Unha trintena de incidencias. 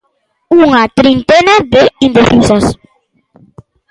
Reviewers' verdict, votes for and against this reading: rejected, 0, 2